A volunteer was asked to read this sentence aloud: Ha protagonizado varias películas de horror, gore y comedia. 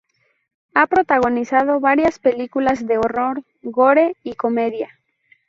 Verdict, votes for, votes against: rejected, 0, 2